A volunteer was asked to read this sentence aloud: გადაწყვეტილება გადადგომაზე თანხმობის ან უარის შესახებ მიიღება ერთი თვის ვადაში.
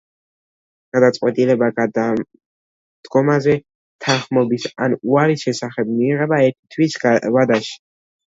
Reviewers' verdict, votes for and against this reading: accepted, 2, 0